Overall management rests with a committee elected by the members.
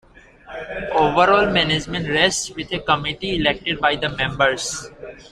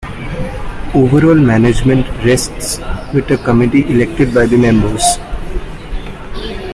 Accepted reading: first